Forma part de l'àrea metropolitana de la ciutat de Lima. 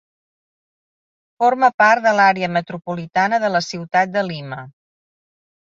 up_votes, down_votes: 3, 0